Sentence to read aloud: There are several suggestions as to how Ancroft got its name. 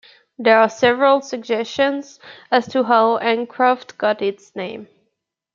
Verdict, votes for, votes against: accepted, 2, 0